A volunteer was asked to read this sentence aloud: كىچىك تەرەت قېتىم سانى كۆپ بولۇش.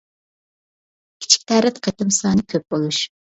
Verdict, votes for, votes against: accepted, 2, 0